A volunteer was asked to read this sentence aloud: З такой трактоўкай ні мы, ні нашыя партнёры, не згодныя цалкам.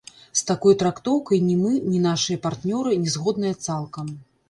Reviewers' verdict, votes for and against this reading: rejected, 1, 2